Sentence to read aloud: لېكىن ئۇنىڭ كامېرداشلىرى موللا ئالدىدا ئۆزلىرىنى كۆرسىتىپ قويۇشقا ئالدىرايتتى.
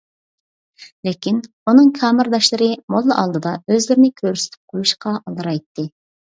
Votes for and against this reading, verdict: 2, 0, accepted